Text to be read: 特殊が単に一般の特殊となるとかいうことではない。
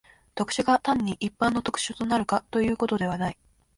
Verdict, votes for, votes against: accepted, 2, 0